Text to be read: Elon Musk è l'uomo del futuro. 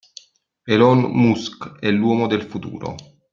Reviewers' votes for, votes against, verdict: 0, 2, rejected